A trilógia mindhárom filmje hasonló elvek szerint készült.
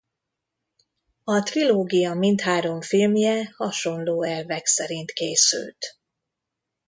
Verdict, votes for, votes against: accepted, 2, 0